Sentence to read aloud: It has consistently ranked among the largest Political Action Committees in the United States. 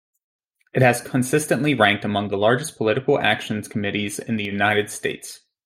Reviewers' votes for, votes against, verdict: 0, 2, rejected